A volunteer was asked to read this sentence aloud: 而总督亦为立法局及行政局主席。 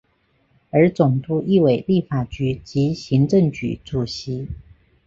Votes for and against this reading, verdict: 2, 0, accepted